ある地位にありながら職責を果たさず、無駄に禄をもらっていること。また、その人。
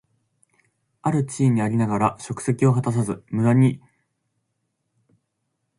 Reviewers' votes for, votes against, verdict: 0, 2, rejected